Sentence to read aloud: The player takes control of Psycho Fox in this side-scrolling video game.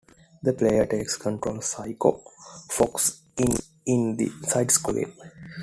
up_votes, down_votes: 0, 2